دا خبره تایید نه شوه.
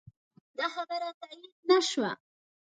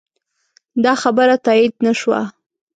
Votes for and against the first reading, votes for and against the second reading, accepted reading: 1, 2, 2, 0, second